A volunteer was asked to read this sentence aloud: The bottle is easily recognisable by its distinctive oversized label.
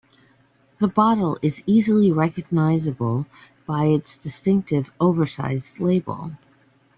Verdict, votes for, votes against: accepted, 2, 0